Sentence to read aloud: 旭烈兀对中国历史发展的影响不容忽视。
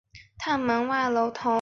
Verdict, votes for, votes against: rejected, 1, 4